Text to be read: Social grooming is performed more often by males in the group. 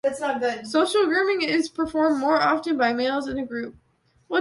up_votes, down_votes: 0, 2